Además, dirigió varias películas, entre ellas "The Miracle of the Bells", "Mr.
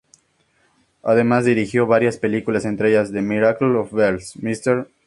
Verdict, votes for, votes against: accepted, 2, 0